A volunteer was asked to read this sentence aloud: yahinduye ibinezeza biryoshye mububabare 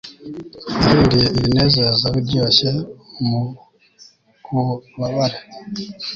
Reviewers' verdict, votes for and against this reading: rejected, 0, 2